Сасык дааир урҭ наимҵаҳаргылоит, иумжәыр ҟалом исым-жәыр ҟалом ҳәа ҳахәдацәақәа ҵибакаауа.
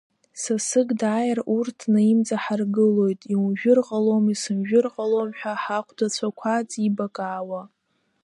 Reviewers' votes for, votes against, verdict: 0, 2, rejected